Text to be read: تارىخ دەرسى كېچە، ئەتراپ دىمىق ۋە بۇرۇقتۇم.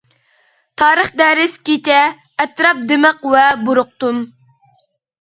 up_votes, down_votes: 0, 2